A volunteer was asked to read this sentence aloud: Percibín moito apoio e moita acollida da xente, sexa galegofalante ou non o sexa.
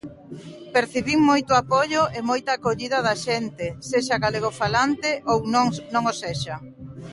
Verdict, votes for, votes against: rejected, 0, 2